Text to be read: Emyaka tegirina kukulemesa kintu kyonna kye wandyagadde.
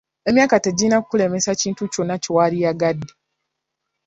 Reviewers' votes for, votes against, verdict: 2, 1, accepted